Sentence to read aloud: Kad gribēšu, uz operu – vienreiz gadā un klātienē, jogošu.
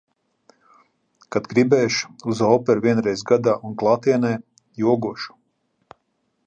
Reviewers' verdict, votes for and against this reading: accepted, 2, 0